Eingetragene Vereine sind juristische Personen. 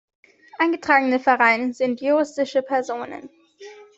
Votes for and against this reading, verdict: 3, 0, accepted